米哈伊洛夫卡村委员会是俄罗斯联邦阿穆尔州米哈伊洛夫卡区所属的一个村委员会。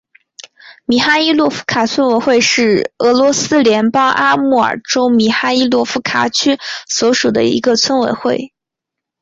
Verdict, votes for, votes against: accepted, 10, 0